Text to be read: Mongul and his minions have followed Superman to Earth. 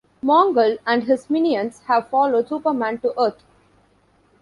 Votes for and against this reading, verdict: 2, 0, accepted